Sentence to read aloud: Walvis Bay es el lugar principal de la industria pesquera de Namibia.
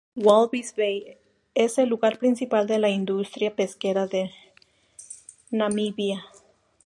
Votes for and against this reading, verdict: 2, 0, accepted